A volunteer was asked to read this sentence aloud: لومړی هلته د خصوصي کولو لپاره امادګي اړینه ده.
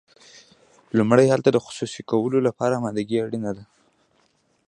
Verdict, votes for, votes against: rejected, 1, 2